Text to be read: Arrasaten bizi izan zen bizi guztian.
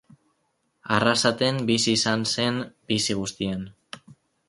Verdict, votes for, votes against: accepted, 4, 0